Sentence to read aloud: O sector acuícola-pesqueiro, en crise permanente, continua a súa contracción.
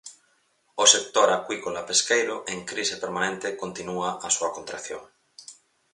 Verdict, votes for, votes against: rejected, 0, 4